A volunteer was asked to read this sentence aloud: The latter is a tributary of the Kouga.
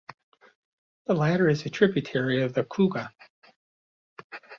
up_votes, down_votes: 2, 0